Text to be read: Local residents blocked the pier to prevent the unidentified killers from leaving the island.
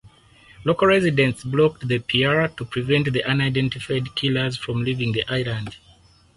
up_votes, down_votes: 2, 0